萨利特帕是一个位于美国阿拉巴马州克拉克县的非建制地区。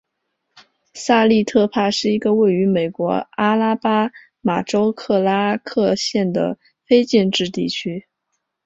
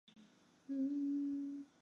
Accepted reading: first